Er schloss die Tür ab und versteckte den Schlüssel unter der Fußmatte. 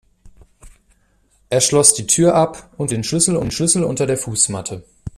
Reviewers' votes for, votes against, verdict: 0, 2, rejected